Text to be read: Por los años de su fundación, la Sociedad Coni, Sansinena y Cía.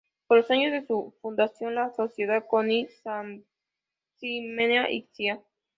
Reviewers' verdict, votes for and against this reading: rejected, 1, 3